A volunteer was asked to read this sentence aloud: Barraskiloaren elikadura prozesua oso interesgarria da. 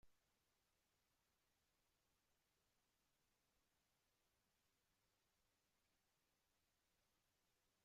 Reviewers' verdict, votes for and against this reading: rejected, 0, 2